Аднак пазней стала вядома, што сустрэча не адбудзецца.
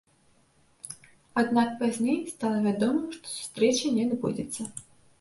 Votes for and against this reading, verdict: 2, 1, accepted